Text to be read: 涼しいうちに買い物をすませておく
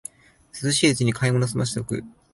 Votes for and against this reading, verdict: 3, 0, accepted